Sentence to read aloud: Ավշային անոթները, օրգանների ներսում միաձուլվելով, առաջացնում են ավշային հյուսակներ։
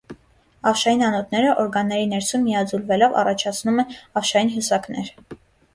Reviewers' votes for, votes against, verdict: 2, 0, accepted